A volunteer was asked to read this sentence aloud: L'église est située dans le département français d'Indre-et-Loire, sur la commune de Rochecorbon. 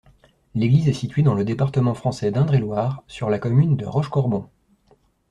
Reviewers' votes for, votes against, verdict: 2, 0, accepted